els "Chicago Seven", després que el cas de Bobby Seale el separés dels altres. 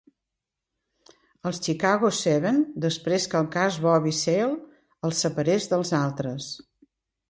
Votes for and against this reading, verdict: 1, 2, rejected